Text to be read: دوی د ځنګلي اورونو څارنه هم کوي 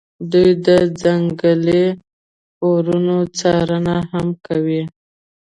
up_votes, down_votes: 1, 2